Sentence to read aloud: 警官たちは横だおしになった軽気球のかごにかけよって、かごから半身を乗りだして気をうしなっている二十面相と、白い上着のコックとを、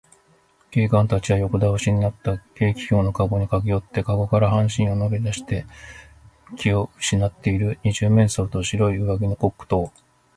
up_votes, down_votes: 2, 0